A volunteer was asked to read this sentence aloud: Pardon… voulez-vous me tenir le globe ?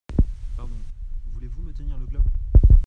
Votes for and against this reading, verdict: 1, 2, rejected